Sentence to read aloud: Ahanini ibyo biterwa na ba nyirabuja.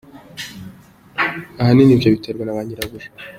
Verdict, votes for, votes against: accepted, 2, 0